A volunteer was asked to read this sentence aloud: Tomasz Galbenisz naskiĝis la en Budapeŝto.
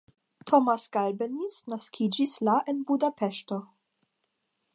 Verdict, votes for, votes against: accepted, 10, 0